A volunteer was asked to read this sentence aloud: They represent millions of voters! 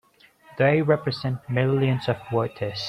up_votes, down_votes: 1, 2